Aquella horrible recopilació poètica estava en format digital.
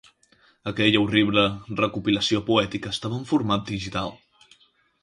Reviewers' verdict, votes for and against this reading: accepted, 6, 0